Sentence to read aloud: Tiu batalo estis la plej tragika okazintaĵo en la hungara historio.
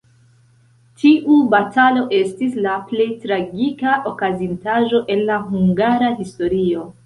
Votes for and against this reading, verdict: 1, 2, rejected